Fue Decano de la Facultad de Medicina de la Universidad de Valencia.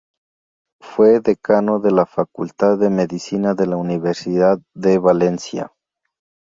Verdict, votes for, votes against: accepted, 2, 0